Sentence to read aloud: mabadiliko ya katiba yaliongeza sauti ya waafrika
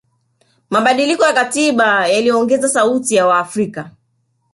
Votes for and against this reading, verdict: 0, 2, rejected